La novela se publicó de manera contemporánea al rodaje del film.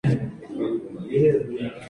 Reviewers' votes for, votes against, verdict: 0, 2, rejected